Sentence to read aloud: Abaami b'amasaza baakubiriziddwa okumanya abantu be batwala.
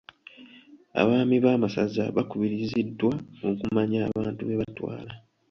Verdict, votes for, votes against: rejected, 1, 2